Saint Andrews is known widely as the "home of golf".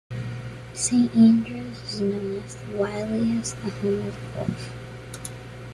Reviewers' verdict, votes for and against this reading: rejected, 0, 2